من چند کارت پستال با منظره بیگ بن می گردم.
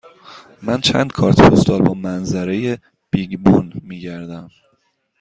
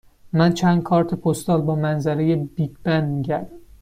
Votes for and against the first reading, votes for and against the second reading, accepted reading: 2, 0, 1, 2, first